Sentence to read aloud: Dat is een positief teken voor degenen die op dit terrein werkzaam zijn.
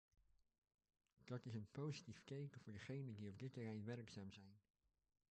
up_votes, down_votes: 0, 2